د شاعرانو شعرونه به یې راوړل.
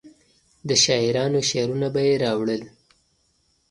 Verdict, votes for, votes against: accepted, 2, 0